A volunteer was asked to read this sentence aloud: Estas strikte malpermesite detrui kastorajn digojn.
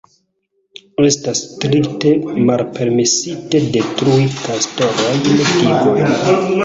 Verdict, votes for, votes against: rejected, 1, 3